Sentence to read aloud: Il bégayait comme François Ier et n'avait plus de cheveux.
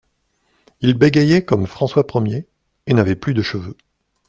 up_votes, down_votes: 2, 0